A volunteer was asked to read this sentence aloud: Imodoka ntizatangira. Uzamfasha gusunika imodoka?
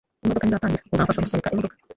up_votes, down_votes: 0, 2